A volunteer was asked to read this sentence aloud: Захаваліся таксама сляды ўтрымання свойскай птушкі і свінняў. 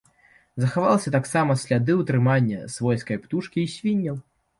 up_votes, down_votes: 0, 2